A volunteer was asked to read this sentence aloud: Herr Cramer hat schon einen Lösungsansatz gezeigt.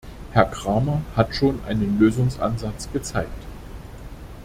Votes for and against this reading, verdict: 2, 0, accepted